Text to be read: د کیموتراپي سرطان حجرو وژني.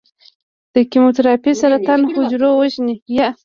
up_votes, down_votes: 0, 2